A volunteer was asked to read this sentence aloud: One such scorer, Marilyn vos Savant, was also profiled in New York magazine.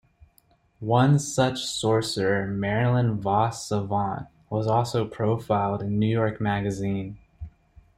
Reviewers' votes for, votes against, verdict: 0, 2, rejected